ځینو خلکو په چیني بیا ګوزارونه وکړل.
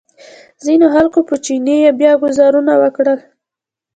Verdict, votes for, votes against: accepted, 2, 1